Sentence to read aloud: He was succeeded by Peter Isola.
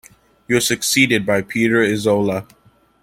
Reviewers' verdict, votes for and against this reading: accepted, 2, 0